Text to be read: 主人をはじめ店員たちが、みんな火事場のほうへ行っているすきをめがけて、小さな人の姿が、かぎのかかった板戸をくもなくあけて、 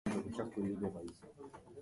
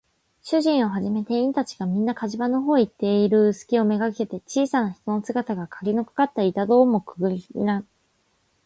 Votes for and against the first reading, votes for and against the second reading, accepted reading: 1, 2, 7, 3, second